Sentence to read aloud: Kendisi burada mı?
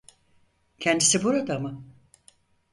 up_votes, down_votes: 4, 0